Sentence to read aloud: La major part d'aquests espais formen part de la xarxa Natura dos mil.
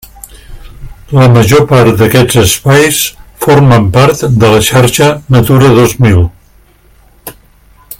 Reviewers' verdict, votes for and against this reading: accepted, 3, 0